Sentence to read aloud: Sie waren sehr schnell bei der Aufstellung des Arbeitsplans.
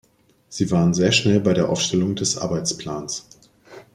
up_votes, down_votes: 2, 0